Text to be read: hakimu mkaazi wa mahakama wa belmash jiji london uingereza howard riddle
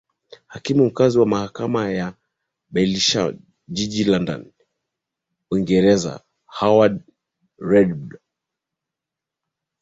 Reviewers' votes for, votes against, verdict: 0, 2, rejected